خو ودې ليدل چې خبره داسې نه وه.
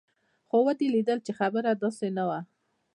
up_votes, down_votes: 2, 0